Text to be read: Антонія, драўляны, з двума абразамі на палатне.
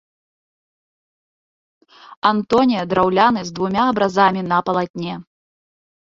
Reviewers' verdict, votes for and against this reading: rejected, 1, 2